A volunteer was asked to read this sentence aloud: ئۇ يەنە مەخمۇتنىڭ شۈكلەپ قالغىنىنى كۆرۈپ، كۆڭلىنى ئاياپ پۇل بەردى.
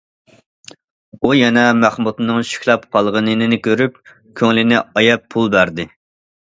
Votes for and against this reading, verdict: 2, 0, accepted